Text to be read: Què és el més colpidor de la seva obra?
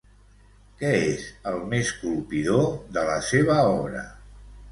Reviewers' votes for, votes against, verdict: 0, 2, rejected